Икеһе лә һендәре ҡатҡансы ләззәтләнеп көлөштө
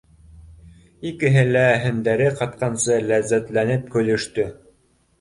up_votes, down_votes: 2, 0